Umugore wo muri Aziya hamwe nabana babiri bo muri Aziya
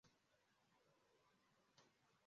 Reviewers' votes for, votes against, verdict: 0, 2, rejected